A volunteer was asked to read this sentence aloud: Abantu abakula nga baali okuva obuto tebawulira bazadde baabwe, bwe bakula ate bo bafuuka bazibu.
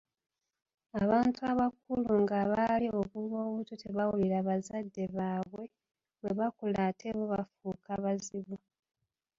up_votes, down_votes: 0, 2